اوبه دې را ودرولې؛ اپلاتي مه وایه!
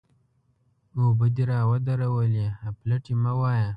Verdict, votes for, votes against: rejected, 1, 2